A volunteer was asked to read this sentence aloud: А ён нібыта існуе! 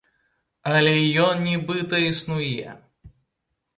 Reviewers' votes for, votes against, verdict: 0, 2, rejected